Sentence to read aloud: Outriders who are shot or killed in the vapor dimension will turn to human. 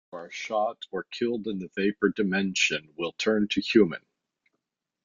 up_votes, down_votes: 0, 2